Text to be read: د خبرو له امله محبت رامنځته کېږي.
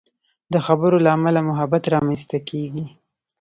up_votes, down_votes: 1, 2